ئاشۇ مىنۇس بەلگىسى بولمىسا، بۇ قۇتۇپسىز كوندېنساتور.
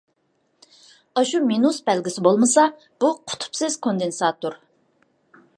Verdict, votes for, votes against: accepted, 2, 0